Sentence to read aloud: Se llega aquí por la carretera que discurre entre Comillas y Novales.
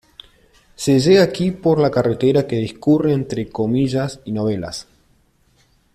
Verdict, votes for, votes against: rejected, 1, 2